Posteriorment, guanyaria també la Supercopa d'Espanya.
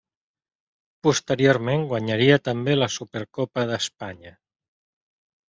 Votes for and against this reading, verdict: 3, 0, accepted